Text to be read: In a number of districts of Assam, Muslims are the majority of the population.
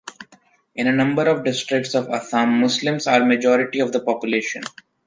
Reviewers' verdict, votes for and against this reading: rejected, 0, 2